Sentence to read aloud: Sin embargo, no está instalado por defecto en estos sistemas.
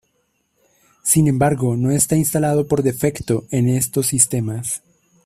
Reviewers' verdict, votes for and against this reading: accepted, 2, 0